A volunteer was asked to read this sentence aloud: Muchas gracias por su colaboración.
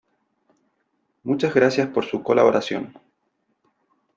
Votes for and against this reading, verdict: 2, 0, accepted